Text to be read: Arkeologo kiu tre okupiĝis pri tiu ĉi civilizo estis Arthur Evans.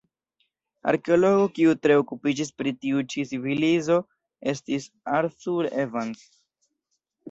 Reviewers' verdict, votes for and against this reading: accepted, 2, 1